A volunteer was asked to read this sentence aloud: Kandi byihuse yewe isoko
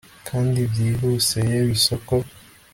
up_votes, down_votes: 2, 0